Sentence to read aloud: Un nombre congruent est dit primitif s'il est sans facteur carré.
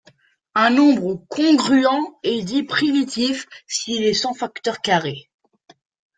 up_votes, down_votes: 2, 0